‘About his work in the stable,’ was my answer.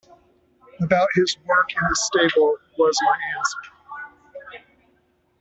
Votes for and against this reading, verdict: 0, 2, rejected